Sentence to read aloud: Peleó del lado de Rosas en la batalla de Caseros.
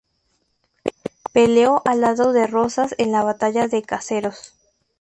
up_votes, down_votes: 2, 0